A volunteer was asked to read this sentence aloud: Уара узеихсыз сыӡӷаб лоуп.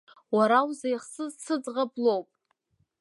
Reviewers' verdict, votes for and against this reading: accepted, 2, 1